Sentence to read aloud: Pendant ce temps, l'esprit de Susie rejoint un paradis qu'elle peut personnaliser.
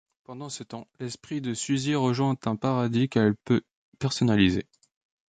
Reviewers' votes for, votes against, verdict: 2, 0, accepted